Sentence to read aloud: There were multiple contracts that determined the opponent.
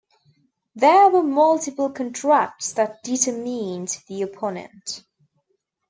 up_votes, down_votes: 0, 2